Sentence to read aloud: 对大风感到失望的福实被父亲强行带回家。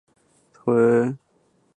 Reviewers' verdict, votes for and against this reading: rejected, 2, 3